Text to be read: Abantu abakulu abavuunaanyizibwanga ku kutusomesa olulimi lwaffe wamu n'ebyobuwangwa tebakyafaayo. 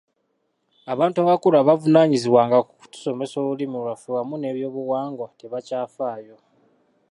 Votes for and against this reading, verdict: 2, 0, accepted